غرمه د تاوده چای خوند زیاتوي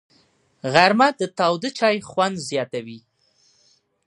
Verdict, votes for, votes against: accepted, 2, 0